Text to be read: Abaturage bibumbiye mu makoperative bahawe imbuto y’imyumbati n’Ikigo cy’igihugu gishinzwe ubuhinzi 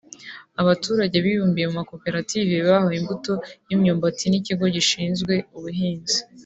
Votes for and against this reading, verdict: 1, 2, rejected